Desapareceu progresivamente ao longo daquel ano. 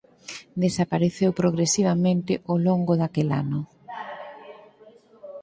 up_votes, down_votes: 2, 6